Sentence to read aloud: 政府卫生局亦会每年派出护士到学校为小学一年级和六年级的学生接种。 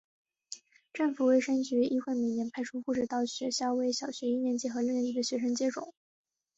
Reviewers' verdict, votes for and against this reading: accepted, 3, 0